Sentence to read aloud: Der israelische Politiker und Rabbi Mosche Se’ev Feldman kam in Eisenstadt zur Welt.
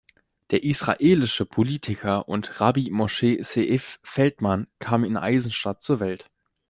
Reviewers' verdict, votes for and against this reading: accepted, 2, 0